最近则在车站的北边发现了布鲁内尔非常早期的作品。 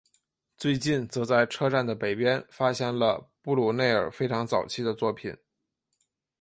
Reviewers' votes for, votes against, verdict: 2, 0, accepted